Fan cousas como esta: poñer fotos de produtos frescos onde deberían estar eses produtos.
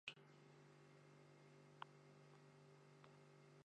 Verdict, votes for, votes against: rejected, 0, 2